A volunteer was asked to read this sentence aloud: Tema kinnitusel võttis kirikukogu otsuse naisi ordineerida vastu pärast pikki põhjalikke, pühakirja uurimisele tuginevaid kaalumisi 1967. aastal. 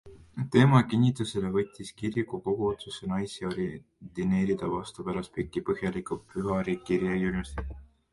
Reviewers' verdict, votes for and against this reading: rejected, 0, 2